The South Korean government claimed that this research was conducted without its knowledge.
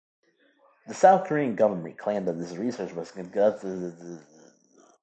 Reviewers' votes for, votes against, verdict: 2, 1, accepted